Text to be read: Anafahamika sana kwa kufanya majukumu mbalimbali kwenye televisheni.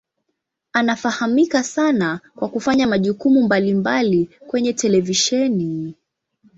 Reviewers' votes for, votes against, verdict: 2, 0, accepted